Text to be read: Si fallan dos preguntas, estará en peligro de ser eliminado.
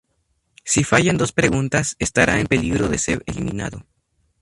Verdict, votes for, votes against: accepted, 2, 0